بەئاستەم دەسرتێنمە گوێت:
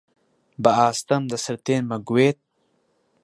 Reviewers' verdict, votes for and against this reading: accepted, 2, 0